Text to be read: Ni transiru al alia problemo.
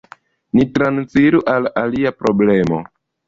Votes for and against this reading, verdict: 2, 1, accepted